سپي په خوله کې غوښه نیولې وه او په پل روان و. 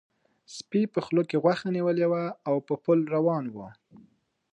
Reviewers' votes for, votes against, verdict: 1, 2, rejected